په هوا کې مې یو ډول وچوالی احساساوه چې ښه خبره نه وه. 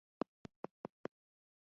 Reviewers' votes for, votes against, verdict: 0, 2, rejected